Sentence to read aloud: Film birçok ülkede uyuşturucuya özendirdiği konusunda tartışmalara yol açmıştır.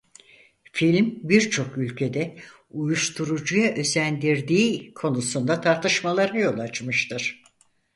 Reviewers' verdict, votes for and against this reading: accepted, 4, 0